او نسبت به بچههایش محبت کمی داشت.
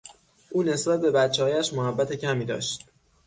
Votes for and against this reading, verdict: 6, 0, accepted